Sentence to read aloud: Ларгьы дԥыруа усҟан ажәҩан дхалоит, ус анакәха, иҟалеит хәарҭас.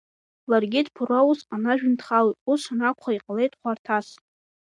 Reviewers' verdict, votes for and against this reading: accepted, 2, 0